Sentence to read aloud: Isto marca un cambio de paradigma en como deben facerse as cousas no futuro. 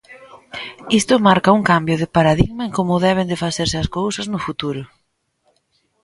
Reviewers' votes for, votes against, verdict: 0, 2, rejected